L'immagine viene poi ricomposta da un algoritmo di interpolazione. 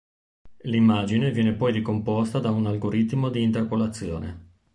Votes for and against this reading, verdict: 2, 0, accepted